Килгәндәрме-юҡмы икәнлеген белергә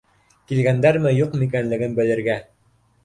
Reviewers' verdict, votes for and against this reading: accepted, 2, 1